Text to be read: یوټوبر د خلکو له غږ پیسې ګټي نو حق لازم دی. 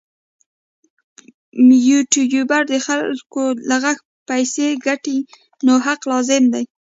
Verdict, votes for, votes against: rejected, 1, 2